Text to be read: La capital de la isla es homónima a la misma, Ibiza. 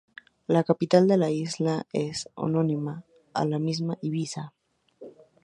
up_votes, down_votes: 0, 2